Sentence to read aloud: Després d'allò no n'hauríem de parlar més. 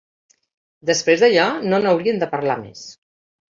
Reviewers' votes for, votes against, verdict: 2, 0, accepted